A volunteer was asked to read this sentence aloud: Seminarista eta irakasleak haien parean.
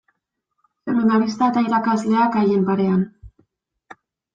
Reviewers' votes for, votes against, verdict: 0, 2, rejected